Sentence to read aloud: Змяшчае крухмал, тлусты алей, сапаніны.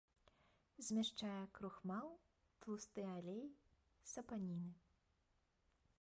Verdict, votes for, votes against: rejected, 1, 2